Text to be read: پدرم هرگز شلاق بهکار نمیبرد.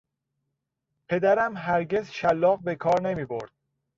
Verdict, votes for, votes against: accepted, 2, 0